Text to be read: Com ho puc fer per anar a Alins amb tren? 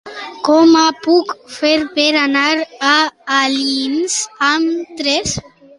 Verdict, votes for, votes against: rejected, 0, 2